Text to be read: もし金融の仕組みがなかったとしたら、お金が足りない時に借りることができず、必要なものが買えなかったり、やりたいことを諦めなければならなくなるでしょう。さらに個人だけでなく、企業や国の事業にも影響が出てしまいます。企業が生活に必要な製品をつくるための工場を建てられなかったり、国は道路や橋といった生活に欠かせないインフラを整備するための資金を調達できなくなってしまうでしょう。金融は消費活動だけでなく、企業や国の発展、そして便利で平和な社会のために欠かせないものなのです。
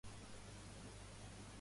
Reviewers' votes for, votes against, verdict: 0, 2, rejected